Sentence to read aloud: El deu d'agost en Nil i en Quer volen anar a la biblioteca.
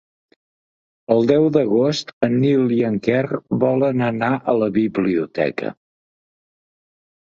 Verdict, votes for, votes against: accepted, 3, 0